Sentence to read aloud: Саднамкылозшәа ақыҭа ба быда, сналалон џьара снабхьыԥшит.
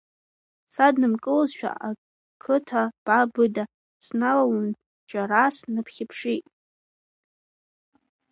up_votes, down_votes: 0, 2